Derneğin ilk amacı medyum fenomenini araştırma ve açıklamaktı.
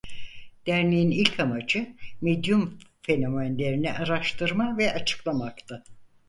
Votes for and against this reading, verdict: 0, 4, rejected